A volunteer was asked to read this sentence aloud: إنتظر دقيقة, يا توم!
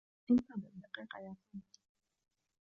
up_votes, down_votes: 0, 2